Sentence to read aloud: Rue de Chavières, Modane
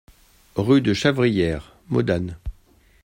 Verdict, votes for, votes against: rejected, 1, 2